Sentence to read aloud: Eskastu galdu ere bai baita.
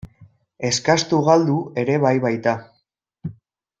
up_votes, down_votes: 2, 0